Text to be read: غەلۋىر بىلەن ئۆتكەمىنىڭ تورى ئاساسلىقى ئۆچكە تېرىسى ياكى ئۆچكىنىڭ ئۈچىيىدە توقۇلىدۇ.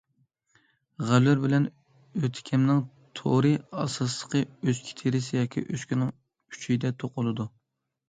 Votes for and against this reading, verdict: 0, 2, rejected